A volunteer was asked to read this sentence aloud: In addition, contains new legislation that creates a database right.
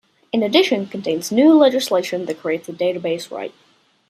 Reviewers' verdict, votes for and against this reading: accepted, 2, 0